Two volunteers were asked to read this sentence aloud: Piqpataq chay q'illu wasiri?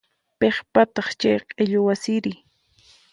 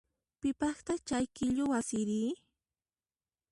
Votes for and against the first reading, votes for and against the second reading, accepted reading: 4, 0, 1, 2, first